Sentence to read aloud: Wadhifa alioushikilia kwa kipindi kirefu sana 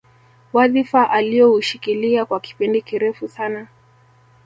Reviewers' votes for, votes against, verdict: 2, 0, accepted